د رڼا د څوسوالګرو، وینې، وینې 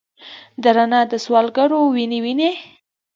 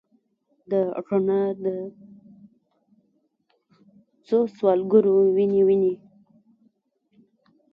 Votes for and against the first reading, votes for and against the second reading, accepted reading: 3, 0, 1, 2, first